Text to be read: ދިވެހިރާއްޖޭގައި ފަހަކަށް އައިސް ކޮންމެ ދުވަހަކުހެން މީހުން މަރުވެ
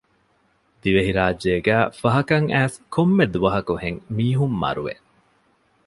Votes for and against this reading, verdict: 0, 2, rejected